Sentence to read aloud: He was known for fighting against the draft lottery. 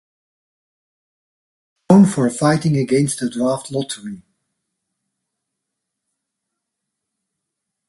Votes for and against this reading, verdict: 0, 2, rejected